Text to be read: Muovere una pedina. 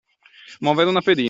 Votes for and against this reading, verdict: 0, 2, rejected